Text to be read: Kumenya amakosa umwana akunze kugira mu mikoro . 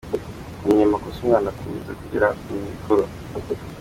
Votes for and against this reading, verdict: 1, 2, rejected